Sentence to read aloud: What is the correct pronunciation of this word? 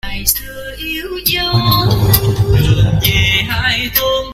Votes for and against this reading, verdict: 0, 2, rejected